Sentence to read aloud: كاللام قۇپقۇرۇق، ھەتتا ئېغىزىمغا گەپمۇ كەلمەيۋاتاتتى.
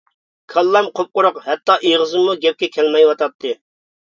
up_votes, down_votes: 0, 2